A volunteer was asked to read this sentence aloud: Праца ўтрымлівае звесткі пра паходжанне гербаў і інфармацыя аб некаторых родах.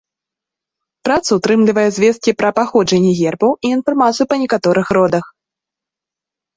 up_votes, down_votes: 1, 2